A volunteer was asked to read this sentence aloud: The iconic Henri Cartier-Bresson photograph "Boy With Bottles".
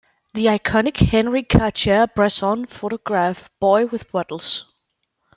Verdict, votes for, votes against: accepted, 2, 1